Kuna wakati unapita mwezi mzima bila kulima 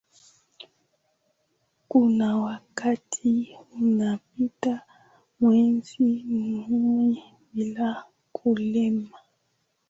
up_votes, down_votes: 0, 2